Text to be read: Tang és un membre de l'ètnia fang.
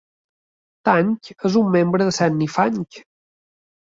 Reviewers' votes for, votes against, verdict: 0, 2, rejected